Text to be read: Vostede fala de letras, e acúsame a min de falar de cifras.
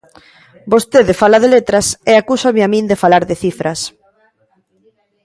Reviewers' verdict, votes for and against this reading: accepted, 2, 0